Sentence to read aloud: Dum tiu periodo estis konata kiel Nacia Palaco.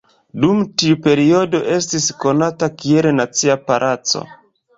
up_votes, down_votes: 2, 0